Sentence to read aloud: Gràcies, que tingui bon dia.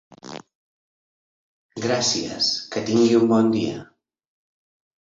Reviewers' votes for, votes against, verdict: 2, 0, accepted